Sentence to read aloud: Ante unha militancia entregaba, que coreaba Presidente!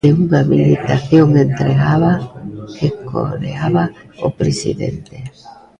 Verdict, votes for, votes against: rejected, 0, 2